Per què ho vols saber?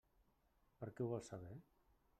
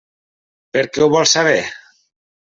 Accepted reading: second